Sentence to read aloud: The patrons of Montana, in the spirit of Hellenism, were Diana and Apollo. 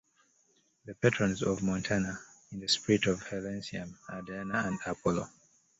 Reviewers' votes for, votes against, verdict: 0, 2, rejected